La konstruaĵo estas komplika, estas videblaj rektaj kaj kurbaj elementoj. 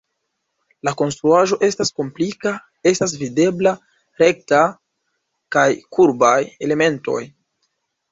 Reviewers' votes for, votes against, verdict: 0, 2, rejected